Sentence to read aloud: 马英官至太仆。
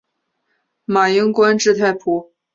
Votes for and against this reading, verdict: 3, 0, accepted